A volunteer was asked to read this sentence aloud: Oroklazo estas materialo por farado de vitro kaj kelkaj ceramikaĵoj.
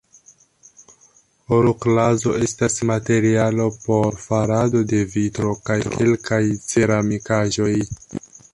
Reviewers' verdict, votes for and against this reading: rejected, 1, 2